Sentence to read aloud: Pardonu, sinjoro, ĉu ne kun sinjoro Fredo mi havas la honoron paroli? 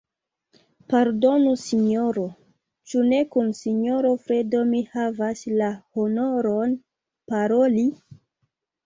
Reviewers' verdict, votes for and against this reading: rejected, 1, 2